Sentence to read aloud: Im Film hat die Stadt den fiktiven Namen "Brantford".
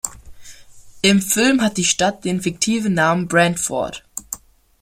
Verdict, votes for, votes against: accepted, 2, 0